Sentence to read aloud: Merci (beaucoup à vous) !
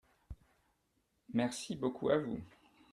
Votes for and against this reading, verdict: 2, 0, accepted